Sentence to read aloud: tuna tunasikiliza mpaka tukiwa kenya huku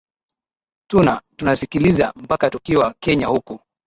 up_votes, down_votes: 2, 0